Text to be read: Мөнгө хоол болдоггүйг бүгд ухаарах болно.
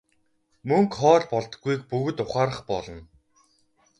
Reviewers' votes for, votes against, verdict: 2, 2, rejected